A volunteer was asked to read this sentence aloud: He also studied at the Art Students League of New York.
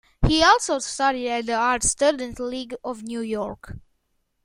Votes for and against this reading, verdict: 2, 1, accepted